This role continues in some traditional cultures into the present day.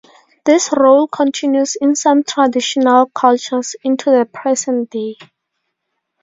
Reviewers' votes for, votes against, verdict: 2, 0, accepted